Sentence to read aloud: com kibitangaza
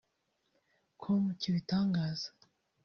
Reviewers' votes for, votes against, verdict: 1, 2, rejected